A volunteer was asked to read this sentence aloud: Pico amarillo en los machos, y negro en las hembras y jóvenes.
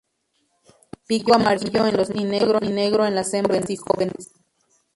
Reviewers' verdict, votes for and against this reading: rejected, 0, 4